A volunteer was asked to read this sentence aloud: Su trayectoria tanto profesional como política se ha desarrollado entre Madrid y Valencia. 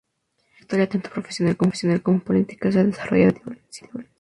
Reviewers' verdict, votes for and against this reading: rejected, 0, 2